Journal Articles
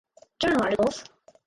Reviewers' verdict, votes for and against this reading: rejected, 0, 4